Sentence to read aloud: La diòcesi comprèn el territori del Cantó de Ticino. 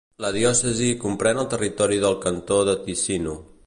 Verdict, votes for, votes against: accepted, 3, 0